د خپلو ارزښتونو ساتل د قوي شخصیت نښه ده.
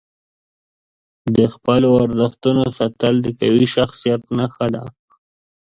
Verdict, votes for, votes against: accepted, 2, 0